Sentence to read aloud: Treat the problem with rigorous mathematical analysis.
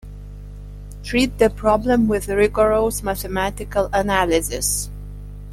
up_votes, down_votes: 2, 1